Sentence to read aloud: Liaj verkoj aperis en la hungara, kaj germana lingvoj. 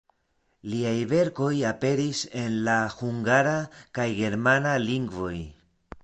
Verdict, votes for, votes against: accepted, 2, 0